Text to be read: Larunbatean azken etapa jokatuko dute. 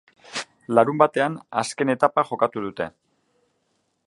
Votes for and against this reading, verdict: 0, 2, rejected